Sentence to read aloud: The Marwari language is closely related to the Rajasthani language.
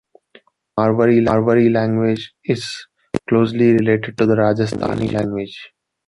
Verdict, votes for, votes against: rejected, 0, 2